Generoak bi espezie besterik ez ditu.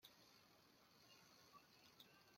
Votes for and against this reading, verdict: 0, 2, rejected